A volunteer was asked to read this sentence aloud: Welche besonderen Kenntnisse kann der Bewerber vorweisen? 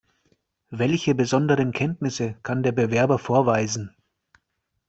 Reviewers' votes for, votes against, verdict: 2, 0, accepted